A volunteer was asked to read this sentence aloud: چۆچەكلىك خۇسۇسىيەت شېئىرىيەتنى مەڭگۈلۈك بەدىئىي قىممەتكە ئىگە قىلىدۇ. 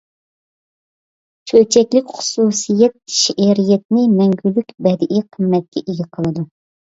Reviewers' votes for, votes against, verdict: 2, 0, accepted